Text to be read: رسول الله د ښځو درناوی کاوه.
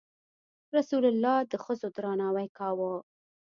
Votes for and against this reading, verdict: 2, 0, accepted